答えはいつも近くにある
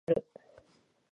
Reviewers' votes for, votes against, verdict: 0, 2, rejected